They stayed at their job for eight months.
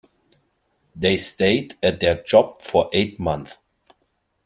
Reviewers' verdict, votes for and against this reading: accepted, 2, 0